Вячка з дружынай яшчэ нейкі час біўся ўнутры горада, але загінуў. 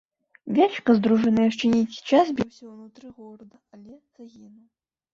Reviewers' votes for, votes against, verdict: 1, 2, rejected